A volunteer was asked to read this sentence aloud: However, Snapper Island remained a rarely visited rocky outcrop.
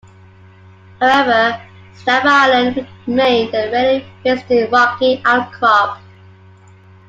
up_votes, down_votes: 0, 2